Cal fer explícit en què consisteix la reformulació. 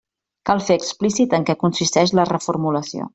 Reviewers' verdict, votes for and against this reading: rejected, 0, 2